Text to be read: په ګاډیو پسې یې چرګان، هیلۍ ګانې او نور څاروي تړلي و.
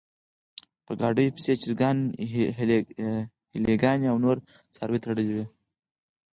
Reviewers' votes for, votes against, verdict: 2, 4, rejected